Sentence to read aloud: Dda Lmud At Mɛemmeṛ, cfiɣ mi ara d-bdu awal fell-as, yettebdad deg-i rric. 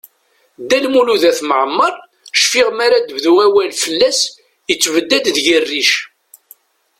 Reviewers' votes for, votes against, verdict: 2, 0, accepted